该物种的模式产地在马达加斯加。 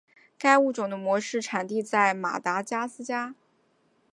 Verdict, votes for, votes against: rejected, 0, 2